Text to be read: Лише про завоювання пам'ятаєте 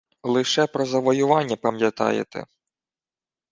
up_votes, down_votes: 2, 0